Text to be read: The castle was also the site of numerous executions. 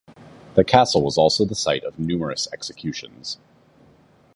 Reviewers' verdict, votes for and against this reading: accepted, 2, 0